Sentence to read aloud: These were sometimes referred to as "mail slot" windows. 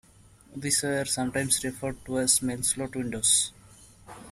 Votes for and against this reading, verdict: 1, 2, rejected